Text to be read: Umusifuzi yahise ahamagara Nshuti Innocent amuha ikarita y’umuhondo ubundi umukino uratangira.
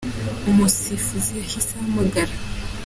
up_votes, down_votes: 0, 2